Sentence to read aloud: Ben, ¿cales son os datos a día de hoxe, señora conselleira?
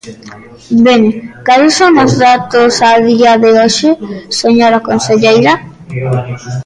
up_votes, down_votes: 1, 2